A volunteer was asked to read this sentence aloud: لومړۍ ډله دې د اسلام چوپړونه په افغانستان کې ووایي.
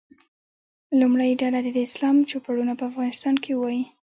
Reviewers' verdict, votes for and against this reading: rejected, 0, 2